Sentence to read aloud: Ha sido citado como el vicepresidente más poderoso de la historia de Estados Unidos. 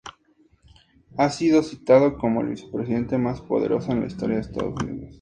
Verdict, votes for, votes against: accepted, 6, 2